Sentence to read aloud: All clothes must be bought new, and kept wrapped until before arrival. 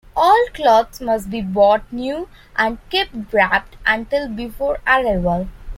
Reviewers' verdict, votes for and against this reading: accepted, 2, 1